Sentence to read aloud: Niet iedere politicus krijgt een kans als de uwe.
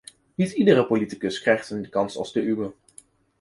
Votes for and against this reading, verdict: 2, 0, accepted